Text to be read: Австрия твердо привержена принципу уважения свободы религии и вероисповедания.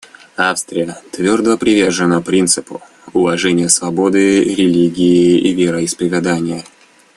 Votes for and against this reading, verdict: 0, 2, rejected